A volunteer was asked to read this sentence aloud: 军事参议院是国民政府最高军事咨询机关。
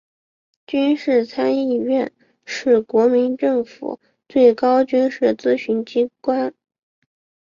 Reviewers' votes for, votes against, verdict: 1, 3, rejected